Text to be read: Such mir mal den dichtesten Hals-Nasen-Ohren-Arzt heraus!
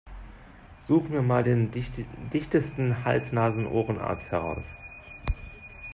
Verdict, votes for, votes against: rejected, 0, 2